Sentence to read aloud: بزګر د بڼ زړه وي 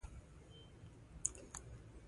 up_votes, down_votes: 1, 2